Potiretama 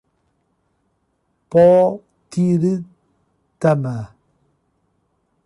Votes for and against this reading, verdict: 0, 2, rejected